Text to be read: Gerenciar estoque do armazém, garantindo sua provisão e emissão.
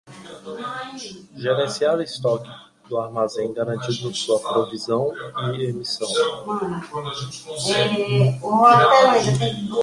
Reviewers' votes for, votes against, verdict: 0, 2, rejected